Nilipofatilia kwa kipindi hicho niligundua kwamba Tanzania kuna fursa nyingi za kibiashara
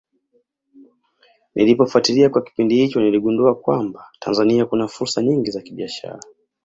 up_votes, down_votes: 2, 1